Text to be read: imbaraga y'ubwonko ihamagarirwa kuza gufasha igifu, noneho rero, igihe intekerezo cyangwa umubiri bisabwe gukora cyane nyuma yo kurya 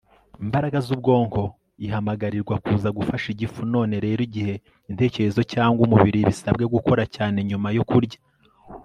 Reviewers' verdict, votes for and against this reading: rejected, 0, 2